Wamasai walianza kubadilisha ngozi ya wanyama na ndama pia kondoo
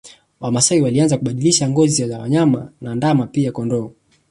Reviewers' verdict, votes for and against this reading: accepted, 3, 1